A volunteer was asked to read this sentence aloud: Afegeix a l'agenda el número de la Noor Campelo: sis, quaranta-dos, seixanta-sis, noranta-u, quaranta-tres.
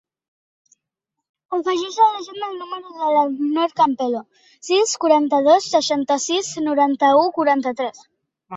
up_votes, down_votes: 2, 0